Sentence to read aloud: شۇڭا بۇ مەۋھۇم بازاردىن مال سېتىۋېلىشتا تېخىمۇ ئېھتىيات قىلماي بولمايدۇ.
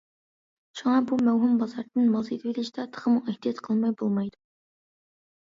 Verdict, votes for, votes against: accepted, 2, 0